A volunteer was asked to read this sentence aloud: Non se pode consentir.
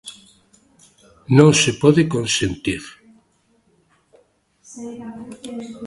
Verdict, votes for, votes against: rejected, 1, 2